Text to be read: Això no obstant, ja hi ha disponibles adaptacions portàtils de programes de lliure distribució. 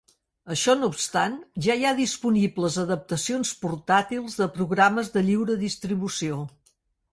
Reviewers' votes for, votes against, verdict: 6, 0, accepted